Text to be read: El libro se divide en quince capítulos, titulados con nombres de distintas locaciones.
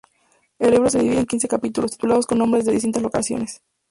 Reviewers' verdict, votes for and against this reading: rejected, 0, 4